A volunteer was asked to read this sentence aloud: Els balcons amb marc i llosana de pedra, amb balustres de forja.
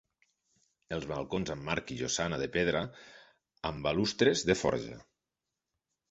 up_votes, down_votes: 2, 0